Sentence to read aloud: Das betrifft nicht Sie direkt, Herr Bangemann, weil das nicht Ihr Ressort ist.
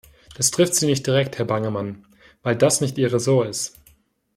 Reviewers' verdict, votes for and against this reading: rejected, 1, 2